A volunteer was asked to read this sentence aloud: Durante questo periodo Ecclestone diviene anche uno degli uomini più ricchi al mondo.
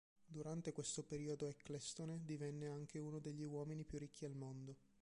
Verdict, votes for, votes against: rejected, 2, 4